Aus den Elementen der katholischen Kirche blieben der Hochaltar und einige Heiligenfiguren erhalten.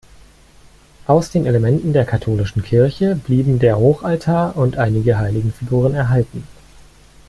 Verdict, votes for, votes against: accepted, 2, 0